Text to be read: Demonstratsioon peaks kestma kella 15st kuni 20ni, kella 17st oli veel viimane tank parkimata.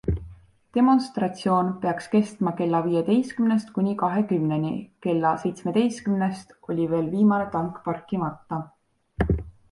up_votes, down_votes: 0, 2